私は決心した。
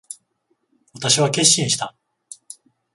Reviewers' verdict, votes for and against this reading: accepted, 14, 0